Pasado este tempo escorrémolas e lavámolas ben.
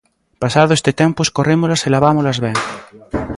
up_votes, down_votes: 2, 0